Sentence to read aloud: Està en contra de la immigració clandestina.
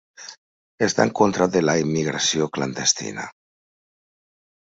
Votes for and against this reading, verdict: 0, 2, rejected